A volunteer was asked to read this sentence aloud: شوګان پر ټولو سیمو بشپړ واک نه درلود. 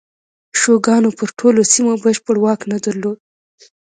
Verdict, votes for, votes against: accepted, 2, 0